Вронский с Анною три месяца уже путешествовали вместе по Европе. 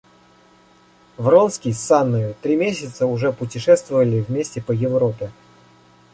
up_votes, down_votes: 2, 0